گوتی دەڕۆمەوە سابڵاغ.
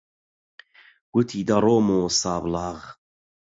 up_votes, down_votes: 8, 0